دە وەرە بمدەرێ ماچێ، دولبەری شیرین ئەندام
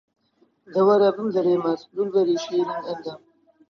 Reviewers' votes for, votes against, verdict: 1, 2, rejected